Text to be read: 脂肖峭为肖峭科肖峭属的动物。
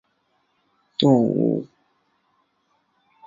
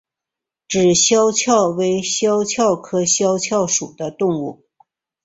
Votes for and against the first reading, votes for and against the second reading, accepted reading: 0, 3, 2, 0, second